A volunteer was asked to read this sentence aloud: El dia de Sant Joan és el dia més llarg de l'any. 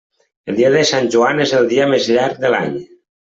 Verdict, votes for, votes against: accepted, 3, 0